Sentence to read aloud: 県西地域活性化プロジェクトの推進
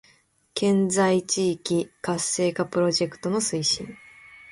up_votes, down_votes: 2, 0